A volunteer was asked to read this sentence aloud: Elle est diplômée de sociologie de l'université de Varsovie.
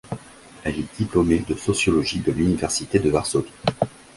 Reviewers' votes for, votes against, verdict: 2, 0, accepted